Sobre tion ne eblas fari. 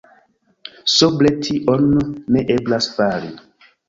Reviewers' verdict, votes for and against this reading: accepted, 2, 0